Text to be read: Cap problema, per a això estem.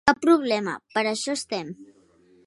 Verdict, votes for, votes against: accepted, 2, 1